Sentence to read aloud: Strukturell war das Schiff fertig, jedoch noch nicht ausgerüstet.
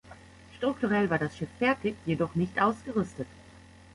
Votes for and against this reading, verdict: 1, 2, rejected